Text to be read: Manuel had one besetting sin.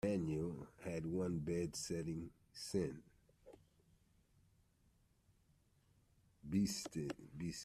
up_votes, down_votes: 1, 2